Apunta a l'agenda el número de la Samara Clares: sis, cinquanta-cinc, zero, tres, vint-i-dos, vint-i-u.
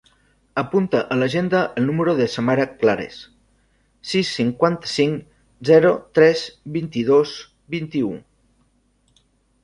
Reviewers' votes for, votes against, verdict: 0, 2, rejected